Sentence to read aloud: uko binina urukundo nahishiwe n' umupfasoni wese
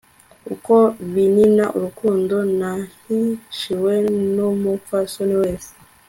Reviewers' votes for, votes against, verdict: 2, 0, accepted